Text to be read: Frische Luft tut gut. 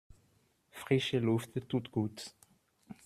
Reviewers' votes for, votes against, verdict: 1, 2, rejected